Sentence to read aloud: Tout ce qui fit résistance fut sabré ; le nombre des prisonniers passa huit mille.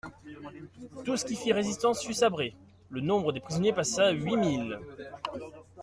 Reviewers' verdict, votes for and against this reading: accepted, 2, 1